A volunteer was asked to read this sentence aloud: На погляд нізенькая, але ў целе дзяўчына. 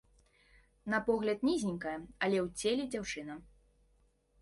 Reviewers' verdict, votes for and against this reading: accepted, 2, 0